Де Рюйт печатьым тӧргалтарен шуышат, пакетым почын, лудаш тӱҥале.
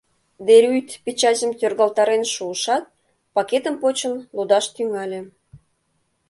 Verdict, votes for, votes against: accepted, 2, 0